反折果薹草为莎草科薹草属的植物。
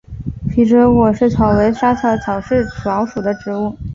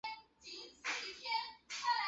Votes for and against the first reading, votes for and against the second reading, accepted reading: 2, 0, 0, 2, first